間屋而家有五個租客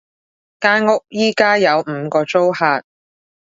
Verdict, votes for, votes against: rejected, 1, 2